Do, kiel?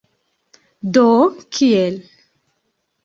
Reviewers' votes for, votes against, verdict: 2, 0, accepted